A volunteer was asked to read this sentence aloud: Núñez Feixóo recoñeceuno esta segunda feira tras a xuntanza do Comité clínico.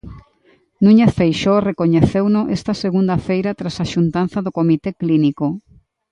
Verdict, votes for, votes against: accepted, 2, 1